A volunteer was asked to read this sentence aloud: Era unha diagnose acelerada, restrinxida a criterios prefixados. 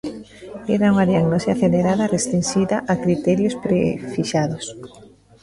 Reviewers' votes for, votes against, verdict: 1, 2, rejected